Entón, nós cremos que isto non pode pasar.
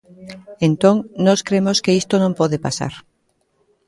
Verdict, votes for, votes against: accepted, 2, 0